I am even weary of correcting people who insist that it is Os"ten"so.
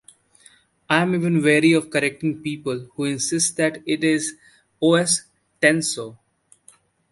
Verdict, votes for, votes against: rejected, 1, 2